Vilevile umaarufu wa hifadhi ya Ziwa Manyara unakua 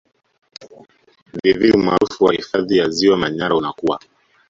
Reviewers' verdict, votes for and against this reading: rejected, 1, 2